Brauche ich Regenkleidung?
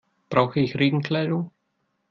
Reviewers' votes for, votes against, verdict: 2, 0, accepted